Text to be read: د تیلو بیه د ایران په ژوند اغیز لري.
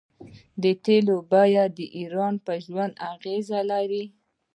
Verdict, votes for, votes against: rejected, 1, 2